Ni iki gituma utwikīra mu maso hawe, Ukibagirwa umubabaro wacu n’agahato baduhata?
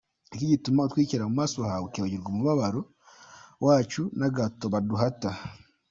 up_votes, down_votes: 2, 0